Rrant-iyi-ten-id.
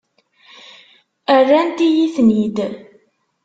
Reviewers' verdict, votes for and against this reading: accepted, 2, 0